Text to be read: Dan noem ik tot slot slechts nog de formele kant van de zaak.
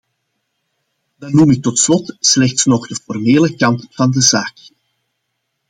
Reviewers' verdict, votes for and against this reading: accepted, 2, 0